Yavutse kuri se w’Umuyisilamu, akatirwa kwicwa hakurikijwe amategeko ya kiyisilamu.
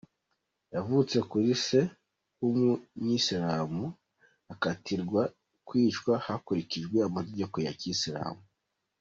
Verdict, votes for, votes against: rejected, 0, 2